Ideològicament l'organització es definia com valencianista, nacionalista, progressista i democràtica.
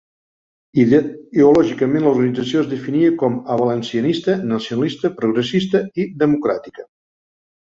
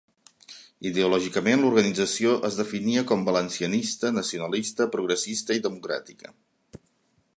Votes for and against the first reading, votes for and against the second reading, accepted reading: 0, 2, 3, 0, second